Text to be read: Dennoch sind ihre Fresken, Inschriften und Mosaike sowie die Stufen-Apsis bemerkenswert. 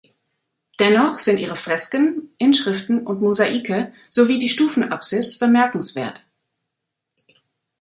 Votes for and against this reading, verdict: 2, 0, accepted